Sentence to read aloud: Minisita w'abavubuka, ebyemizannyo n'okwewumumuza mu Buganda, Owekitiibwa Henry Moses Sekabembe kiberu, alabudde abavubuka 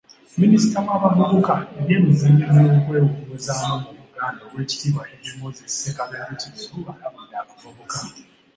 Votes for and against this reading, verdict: 2, 0, accepted